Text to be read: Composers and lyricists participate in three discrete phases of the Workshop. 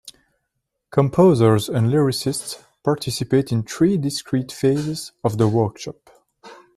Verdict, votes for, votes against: accepted, 2, 0